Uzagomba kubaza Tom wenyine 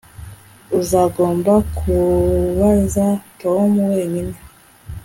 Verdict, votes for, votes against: accepted, 2, 0